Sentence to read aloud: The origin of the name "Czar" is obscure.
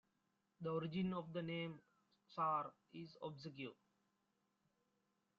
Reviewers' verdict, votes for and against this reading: accepted, 2, 0